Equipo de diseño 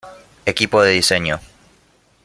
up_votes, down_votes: 2, 0